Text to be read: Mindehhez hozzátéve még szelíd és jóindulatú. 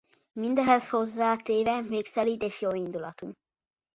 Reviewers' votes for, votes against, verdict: 2, 0, accepted